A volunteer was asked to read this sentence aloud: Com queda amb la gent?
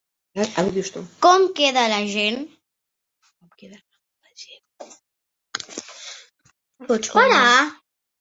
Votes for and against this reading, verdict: 0, 3, rejected